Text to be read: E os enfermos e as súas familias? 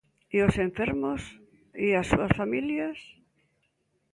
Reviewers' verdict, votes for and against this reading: accepted, 3, 0